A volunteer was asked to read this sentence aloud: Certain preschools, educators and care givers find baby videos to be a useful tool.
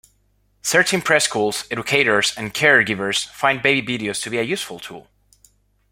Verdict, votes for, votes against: accepted, 2, 0